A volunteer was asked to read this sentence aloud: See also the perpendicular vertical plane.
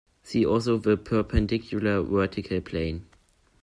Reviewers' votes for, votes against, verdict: 2, 0, accepted